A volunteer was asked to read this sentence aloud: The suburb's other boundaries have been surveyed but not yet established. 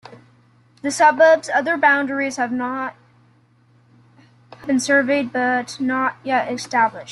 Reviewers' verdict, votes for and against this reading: rejected, 0, 2